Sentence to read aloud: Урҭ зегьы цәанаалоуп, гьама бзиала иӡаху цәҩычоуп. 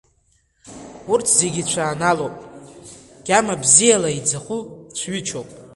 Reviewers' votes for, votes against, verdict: 2, 0, accepted